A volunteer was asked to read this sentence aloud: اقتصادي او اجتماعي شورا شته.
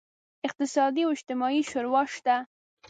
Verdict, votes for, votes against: rejected, 1, 2